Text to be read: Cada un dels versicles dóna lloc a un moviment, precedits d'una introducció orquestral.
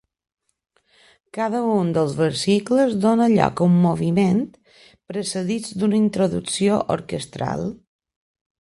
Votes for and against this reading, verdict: 2, 0, accepted